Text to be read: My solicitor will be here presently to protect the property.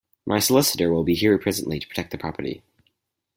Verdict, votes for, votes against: accepted, 4, 0